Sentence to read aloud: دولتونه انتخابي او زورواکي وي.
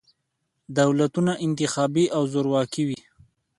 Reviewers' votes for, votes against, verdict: 2, 0, accepted